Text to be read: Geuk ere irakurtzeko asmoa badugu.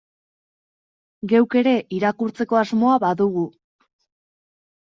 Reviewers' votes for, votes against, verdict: 2, 0, accepted